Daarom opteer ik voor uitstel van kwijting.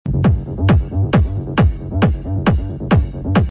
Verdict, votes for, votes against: rejected, 0, 2